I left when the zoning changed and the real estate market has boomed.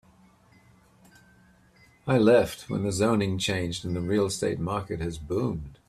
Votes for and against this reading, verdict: 3, 1, accepted